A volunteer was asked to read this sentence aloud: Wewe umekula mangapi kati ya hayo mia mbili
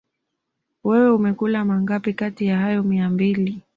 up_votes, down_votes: 2, 0